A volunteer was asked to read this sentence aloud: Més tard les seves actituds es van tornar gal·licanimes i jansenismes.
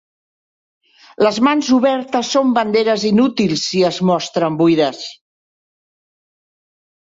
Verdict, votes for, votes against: rejected, 0, 2